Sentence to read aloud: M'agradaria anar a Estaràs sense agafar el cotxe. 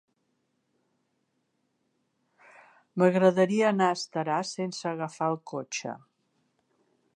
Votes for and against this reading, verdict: 5, 0, accepted